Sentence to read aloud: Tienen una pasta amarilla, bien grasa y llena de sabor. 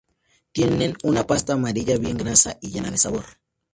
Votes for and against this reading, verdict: 2, 0, accepted